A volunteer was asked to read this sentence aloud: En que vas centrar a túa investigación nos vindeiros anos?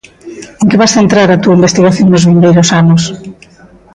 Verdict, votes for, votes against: rejected, 1, 2